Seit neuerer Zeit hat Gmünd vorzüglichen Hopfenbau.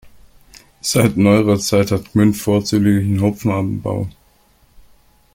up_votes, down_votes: 0, 2